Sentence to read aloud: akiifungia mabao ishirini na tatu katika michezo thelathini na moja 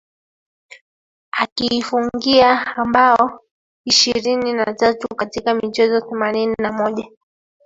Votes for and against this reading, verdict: 1, 2, rejected